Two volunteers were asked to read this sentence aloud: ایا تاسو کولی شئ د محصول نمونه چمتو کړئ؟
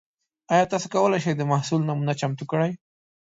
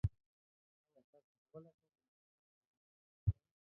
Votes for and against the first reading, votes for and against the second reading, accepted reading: 2, 0, 1, 2, first